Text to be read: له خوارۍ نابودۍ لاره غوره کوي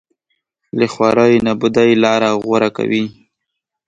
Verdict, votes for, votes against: accepted, 2, 0